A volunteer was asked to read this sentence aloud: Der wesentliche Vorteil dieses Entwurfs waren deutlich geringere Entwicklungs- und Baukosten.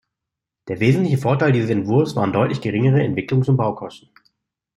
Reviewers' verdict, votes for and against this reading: accepted, 2, 0